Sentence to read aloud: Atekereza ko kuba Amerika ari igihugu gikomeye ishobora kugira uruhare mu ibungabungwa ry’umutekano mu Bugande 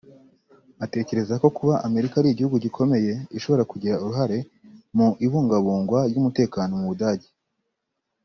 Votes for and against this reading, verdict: 0, 2, rejected